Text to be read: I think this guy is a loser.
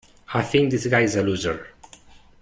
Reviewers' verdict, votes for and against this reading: rejected, 1, 2